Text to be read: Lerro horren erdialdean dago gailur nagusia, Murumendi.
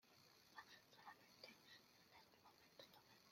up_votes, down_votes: 0, 2